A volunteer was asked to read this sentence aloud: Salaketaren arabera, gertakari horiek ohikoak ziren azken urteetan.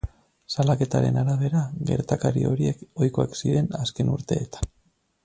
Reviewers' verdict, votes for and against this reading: accepted, 10, 0